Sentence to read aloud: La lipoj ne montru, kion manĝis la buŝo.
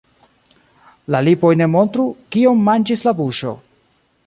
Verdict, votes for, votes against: rejected, 1, 2